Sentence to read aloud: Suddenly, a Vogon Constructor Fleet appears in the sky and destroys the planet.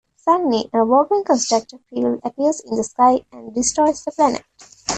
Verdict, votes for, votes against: accepted, 2, 0